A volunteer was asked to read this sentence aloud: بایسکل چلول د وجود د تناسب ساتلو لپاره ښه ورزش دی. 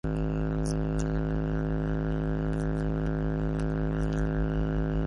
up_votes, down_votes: 0, 2